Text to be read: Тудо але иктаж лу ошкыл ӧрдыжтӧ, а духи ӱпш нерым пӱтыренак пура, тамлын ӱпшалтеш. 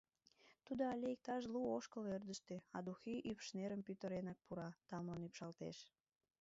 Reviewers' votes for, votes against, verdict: 1, 2, rejected